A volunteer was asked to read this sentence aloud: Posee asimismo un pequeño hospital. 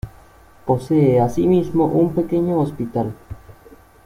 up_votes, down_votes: 2, 0